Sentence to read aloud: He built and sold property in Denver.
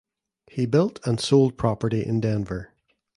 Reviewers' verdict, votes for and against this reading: accepted, 2, 0